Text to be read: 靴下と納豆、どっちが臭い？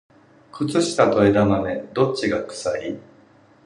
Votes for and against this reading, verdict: 0, 2, rejected